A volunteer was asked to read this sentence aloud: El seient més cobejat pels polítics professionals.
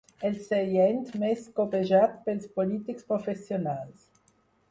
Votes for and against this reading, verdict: 4, 0, accepted